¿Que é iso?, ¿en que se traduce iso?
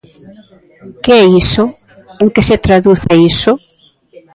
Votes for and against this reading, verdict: 2, 0, accepted